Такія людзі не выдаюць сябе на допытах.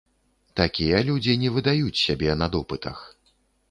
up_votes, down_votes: 2, 0